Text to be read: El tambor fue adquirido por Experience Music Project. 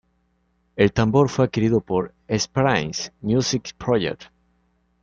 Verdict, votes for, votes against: rejected, 1, 2